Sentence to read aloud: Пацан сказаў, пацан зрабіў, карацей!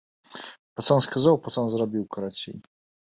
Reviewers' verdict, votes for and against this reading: accepted, 2, 0